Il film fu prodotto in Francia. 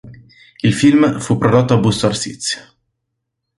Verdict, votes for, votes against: rejected, 1, 2